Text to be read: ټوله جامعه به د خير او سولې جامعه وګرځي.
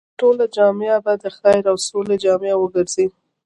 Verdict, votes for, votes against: accepted, 2, 0